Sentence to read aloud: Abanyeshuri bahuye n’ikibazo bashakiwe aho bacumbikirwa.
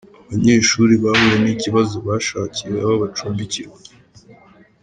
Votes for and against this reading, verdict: 2, 0, accepted